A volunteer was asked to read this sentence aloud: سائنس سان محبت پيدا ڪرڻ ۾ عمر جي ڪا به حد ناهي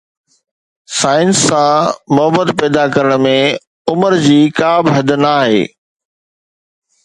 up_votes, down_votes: 2, 0